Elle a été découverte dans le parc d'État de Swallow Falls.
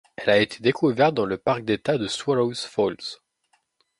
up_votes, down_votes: 0, 2